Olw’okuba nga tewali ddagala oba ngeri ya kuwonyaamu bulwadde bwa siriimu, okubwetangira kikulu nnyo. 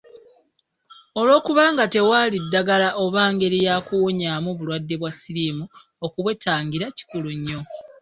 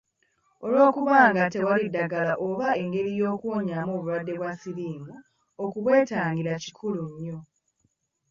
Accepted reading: first